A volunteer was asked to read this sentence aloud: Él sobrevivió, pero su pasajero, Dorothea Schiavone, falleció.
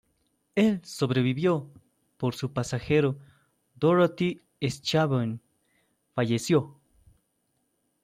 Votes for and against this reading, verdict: 0, 2, rejected